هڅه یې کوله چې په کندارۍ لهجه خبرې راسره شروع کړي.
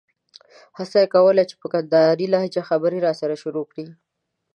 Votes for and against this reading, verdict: 1, 2, rejected